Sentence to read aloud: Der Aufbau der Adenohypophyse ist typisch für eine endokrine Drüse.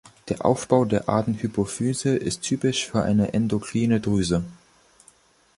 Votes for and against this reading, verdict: 0, 3, rejected